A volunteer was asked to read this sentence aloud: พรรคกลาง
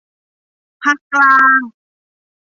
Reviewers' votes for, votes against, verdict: 2, 0, accepted